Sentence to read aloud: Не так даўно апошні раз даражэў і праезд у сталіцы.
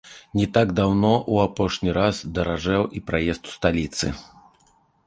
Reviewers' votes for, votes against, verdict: 2, 0, accepted